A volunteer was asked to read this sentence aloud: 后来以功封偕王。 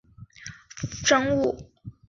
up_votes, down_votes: 3, 4